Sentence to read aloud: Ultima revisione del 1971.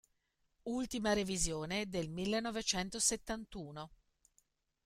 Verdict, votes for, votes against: rejected, 0, 2